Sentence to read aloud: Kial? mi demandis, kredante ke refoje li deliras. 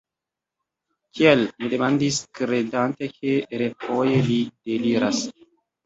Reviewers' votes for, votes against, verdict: 2, 1, accepted